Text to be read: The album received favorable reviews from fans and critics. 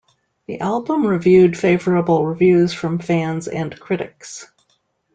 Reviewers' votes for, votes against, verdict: 0, 2, rejected